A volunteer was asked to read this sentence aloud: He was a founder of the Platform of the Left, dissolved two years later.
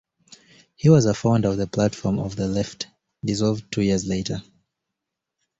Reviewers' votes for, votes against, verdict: 2, 0, accepted